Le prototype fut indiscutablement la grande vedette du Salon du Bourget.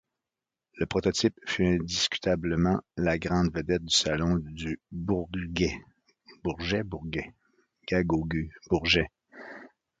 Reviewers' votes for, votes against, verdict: 0, 2, rejected